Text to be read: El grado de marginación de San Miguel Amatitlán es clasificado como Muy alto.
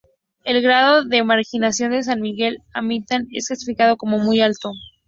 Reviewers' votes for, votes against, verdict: 0, 2, rejected